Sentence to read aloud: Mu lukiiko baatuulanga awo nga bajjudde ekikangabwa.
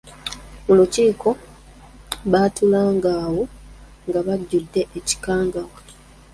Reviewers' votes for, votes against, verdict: 0, 2, rejected